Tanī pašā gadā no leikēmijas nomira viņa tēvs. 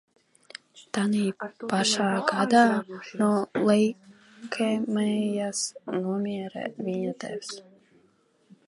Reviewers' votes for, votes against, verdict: 1, 2, rejected